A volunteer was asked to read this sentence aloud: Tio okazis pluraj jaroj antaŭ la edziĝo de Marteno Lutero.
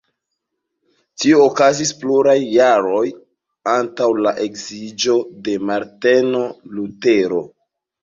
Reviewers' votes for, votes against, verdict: 2, 0, accepted